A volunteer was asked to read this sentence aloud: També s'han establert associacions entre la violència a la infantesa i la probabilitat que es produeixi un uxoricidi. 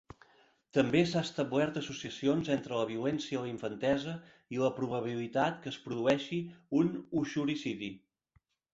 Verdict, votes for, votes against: rejected, 2, 3